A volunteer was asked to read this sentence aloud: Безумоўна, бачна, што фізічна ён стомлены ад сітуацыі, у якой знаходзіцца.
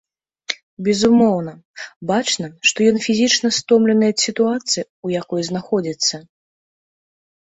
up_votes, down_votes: 1, 2